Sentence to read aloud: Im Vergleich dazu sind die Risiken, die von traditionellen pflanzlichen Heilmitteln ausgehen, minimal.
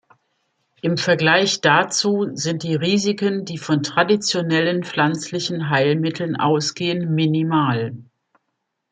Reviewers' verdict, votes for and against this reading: accepted, 2, 0